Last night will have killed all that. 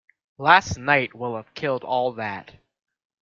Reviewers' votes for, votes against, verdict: 2, 0, accepted